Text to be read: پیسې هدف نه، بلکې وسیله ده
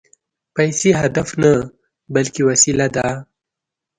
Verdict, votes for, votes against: accepted, 2, 0